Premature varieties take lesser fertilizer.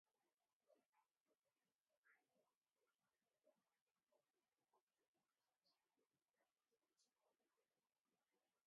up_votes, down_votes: 2, 0